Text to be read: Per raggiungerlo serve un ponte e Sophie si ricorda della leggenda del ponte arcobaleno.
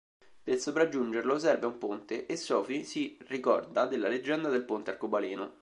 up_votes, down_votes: 1, 2